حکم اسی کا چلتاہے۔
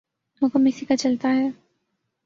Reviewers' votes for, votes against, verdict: 3, 0, accepted